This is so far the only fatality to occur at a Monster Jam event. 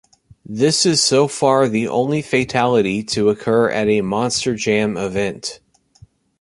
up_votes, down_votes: 1, 2